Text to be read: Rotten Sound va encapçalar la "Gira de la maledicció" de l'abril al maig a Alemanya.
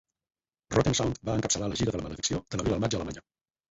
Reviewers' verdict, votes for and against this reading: rejected, 2, 4